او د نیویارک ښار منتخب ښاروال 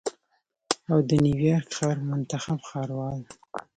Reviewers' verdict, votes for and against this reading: accepted, 2, 1